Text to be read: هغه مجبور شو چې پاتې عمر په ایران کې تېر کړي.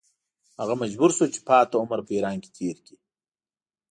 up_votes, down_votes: 2, 0